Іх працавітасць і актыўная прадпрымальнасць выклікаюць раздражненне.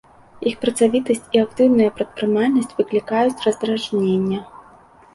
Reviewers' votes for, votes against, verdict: 2, 0, accepted